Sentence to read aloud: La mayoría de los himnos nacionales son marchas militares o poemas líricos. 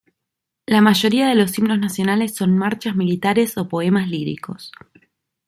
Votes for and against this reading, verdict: 2, 0, accepted